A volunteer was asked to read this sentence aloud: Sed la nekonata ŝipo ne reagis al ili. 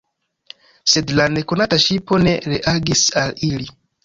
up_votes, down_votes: 2, 0